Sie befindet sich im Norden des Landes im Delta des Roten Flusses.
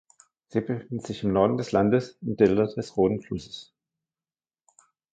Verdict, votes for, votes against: rejected, 0, 2